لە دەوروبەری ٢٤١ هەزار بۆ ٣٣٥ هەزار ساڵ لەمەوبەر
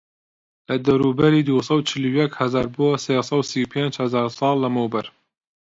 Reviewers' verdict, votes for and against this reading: rejected, 0, 2